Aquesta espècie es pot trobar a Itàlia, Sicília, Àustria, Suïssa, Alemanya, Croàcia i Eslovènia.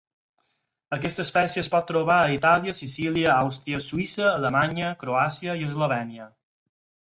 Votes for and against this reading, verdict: 4, 0, accepted